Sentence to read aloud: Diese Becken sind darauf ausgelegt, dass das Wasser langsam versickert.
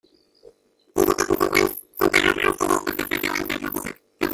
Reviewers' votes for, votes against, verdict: 0, 2, rejected